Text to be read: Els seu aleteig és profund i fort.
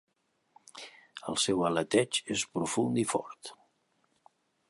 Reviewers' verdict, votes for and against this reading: accepted, 2, 0